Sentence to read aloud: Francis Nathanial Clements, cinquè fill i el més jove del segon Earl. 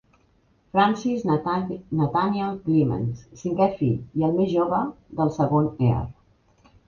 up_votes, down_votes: 1, 2